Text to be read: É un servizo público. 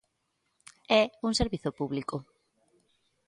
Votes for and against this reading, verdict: 2, 0, accepted